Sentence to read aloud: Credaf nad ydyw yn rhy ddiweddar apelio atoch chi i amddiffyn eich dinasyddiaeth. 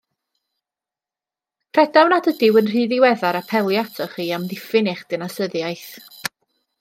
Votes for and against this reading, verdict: 2, 0, accepted